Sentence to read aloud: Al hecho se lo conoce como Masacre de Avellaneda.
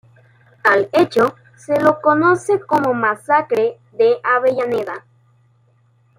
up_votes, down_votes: 2, 0